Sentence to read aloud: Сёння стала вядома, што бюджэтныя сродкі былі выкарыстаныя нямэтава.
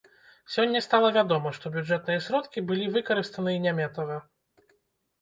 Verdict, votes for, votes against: rejected, 0, 2